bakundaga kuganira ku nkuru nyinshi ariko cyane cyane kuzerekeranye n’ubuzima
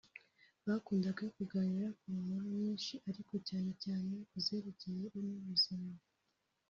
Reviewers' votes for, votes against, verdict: 1, 2, rejected